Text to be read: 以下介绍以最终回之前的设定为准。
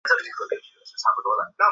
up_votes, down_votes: 0, 2